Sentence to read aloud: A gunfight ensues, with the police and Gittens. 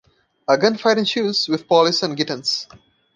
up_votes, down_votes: 1, 3